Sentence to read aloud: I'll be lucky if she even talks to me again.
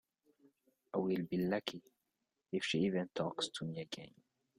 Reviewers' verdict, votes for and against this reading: rejected, 1, 2